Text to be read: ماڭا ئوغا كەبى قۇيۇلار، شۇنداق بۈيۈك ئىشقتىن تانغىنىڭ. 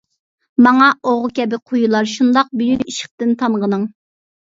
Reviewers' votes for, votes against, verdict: 1, 2, rejected